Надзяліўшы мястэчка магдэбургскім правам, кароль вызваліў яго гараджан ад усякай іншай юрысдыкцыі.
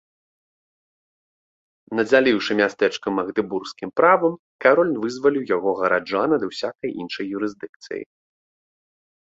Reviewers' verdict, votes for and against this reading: accepted, 2, 0